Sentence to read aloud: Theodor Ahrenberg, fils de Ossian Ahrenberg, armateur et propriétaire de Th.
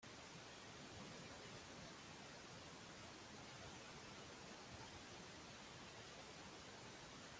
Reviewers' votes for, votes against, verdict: 0, 2, rejected